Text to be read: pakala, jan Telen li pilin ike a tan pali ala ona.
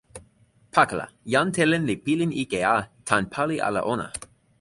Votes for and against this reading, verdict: 4, 0, accepted